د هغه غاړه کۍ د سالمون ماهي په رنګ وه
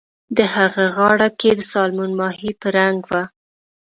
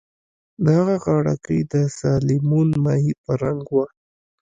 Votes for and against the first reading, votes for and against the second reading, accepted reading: 2, 0, 0, 2, first